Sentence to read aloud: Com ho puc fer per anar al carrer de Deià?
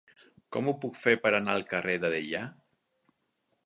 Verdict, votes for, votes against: accepted, 4, 0